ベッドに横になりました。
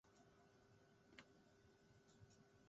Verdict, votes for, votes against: rejected, 1, 2